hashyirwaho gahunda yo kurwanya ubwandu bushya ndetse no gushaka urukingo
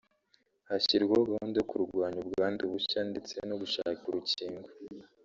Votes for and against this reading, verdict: 2, 0, accepted